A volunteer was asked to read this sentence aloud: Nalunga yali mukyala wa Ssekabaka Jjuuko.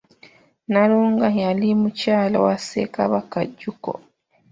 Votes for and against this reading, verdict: 1, 2, rejected